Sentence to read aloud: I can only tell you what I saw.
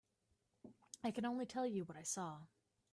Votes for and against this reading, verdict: 1, 2, rejected